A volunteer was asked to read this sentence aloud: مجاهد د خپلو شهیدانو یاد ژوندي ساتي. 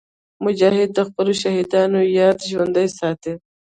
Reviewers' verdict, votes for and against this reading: rejected, 0, 2